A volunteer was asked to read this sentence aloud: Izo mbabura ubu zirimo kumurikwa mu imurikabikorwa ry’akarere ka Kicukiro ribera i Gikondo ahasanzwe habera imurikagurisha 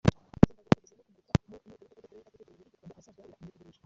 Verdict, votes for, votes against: rejected, 0, 3